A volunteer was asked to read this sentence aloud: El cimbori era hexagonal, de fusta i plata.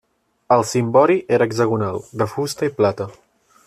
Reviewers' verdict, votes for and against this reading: accepted, 2, 0